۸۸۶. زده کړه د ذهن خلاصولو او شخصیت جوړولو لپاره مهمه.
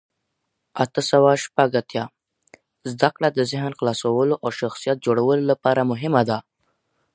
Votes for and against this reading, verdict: 0, 2, rejected